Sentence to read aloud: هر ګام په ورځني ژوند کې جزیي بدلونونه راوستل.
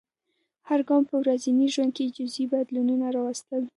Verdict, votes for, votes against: accepted, 2, 1